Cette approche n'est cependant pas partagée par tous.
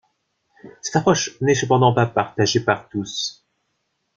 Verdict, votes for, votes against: rejected, 1, 2